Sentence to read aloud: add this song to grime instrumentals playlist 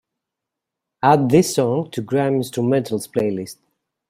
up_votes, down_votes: 2, 1